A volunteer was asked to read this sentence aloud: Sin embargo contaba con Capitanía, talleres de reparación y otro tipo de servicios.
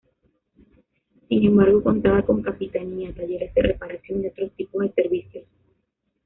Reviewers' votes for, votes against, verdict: 1, 2, rejected